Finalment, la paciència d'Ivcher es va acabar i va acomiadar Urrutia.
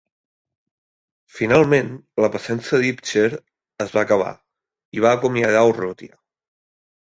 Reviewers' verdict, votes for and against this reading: accepted, 2, 1